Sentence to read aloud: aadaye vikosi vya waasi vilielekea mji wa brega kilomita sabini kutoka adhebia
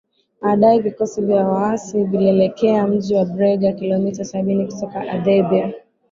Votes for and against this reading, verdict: 2, 0, accepted